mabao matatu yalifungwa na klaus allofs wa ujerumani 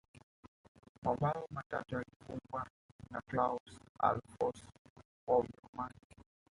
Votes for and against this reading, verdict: 1, 3, rejected